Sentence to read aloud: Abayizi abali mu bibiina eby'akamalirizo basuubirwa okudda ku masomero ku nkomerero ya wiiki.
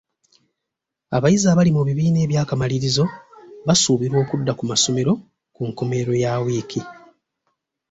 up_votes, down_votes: 2, 0